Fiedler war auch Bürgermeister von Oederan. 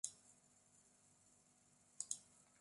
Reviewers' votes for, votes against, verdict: 0, 2, rejected